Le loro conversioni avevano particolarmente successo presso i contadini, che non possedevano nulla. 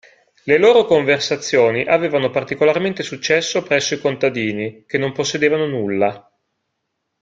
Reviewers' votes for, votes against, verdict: 1, 2, rejected